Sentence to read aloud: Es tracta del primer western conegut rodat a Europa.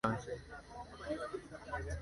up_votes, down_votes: 1, 2